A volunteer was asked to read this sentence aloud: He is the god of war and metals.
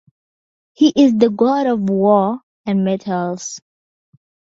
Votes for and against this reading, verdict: 2, 0, accepted